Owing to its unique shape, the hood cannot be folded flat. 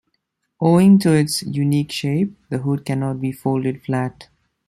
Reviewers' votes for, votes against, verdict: 2, 0, accepted